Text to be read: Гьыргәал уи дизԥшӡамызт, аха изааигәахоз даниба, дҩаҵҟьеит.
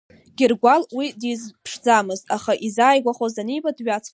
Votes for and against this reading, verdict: 1, 2, rejected